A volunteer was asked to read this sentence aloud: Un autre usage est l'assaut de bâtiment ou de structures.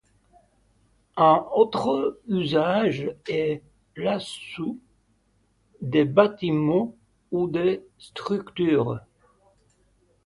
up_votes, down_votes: 2, 1